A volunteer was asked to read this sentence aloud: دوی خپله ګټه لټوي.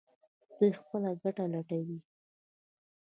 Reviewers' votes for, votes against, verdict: 1, 2, rejected